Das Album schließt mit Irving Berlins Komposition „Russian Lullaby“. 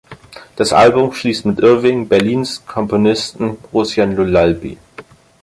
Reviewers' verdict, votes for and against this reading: rejected, 0, 4